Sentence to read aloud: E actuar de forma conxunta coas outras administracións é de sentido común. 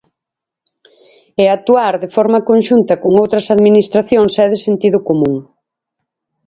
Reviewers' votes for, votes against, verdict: 2, 4, rejected